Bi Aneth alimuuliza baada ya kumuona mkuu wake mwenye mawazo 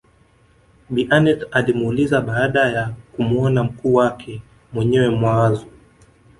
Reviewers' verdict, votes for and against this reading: accepted, 2, 1